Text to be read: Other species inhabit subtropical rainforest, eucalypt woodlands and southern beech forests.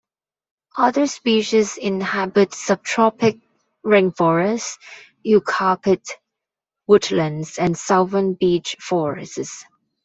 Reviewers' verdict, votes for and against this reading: rejected, 0, 2